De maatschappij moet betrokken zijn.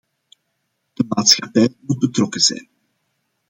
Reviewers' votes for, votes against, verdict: 0, 2, rejected